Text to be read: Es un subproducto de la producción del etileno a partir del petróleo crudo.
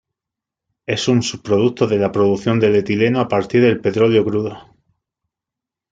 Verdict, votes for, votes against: accepted, 2, 0